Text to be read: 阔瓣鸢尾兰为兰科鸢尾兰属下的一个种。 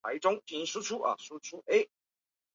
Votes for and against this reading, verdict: 0, 2, rejected